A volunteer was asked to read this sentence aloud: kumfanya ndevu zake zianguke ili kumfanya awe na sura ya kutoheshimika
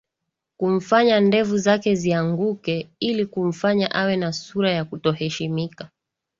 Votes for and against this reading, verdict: 2, 0, accepted